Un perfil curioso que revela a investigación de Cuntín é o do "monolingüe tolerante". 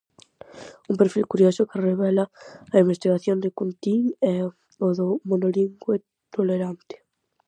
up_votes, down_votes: 2, 2